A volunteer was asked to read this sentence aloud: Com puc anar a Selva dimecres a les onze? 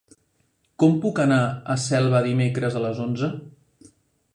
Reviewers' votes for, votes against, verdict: 3, 0, accepted